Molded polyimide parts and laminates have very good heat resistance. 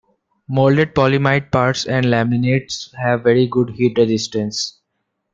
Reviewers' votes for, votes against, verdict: 1, 2, rejected